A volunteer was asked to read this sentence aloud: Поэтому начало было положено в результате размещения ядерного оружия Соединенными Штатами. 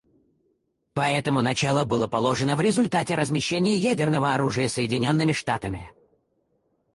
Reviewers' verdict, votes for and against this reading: rejected, 2, 2